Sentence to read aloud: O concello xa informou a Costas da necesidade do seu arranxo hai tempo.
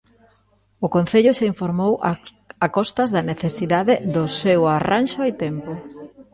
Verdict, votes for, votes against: rejected, 0, 2